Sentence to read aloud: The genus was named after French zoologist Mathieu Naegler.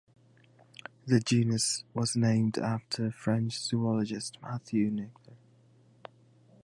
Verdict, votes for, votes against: rejected, 0, 2